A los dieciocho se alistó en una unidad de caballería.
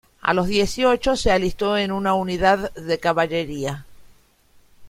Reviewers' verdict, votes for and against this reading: rejected, 1, 2